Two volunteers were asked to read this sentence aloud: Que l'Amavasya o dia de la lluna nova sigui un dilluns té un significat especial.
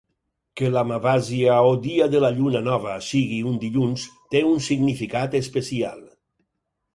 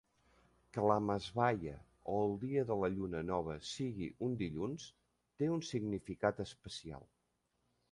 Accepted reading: first